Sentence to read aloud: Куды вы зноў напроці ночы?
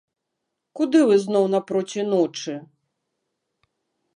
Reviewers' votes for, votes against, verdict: 2, 0, accepted